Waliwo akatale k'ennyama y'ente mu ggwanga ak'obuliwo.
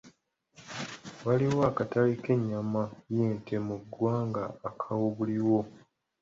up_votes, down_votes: 1, 2